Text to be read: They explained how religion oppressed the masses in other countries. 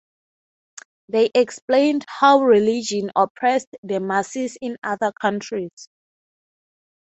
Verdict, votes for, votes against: accepted, 9, 3